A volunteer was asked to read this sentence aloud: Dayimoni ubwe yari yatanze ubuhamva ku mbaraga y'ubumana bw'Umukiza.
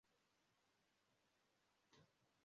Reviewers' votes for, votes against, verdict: 0, 2, rejected